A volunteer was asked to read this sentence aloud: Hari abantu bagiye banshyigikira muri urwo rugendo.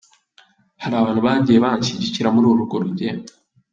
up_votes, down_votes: 1, 2